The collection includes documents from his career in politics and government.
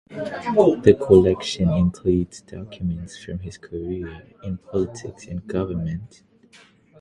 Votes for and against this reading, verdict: 3, 6, rejected